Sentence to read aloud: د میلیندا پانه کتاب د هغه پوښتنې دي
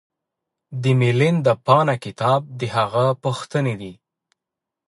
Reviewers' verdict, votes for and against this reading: rejected, 0, 2